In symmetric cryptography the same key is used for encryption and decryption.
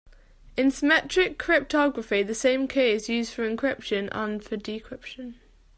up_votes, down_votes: 2, 4